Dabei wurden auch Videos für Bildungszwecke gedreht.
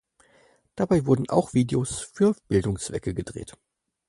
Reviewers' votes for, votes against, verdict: 4, 0, accepted